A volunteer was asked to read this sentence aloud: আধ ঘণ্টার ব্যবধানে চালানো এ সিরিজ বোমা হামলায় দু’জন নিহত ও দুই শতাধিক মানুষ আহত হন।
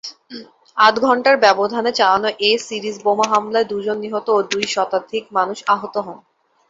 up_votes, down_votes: 2, 0